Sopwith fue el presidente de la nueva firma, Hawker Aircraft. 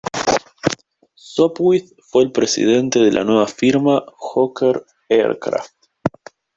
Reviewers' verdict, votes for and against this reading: rejected, 1, 2